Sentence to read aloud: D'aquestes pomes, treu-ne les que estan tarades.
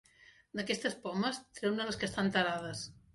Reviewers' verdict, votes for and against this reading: accepted, 3, 1